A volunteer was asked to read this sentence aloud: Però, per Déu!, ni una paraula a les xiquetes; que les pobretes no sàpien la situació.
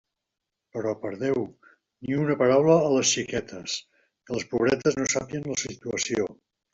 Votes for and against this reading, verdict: 0, 2, rejected